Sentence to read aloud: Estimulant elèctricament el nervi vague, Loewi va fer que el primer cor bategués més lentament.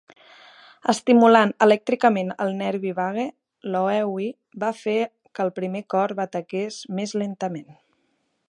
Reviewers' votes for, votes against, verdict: 2, 1, accepted